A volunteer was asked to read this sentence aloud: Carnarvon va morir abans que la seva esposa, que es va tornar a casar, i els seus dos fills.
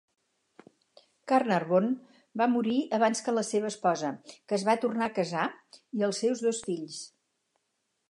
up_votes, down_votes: 4, 0